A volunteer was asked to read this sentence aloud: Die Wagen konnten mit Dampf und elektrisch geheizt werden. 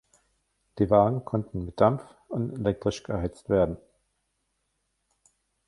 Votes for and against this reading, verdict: 2, 1, accepted